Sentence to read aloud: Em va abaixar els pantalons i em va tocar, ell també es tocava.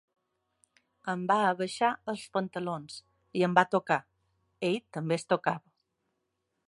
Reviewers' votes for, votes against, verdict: 3, 0, accepted